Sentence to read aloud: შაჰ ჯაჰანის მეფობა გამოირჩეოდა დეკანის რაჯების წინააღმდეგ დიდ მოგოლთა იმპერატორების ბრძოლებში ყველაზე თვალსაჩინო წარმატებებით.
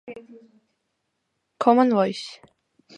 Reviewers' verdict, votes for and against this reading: rejected, 1, 2